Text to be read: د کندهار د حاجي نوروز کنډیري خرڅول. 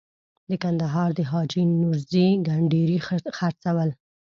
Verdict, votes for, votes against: rejected, 0, 2